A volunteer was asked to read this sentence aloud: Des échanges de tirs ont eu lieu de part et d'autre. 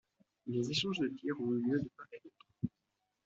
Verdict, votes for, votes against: rejected, 1, 2